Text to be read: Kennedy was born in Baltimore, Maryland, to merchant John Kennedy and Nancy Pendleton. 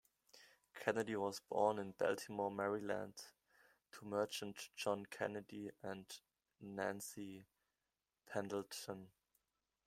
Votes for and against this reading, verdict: 2, 1, accepted